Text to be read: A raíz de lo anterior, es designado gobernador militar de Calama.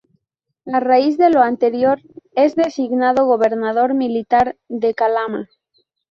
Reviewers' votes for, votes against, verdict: 0, 2, rejected